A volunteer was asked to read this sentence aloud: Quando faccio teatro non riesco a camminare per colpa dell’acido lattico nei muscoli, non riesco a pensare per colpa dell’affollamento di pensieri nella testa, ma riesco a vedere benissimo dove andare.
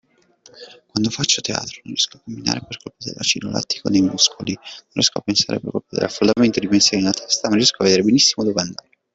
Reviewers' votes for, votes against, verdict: 1, 2, rejected